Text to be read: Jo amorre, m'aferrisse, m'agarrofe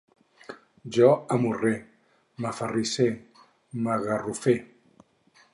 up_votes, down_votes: 2, 4